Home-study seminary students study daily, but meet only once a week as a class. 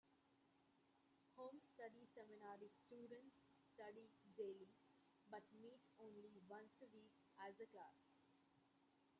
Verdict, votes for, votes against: rejected, 0, 2